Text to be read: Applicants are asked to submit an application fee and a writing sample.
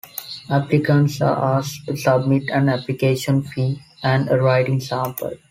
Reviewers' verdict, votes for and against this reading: accepted, 2, 0